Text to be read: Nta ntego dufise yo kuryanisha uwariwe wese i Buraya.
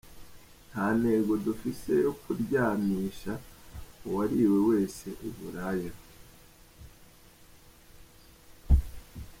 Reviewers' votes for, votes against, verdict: 2, 1, accepted